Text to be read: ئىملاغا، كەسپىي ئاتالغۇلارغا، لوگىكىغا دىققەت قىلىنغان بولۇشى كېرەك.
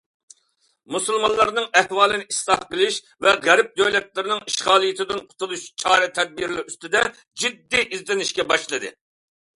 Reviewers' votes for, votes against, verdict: 0, 2, rejected